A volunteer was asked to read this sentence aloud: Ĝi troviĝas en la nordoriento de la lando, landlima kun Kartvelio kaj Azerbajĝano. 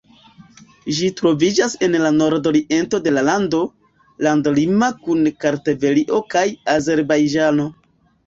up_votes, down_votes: 0, 2